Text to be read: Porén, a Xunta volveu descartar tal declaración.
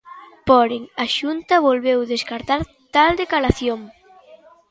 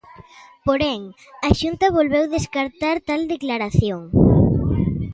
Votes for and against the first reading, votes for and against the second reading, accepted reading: 0, 2, 2, 0, second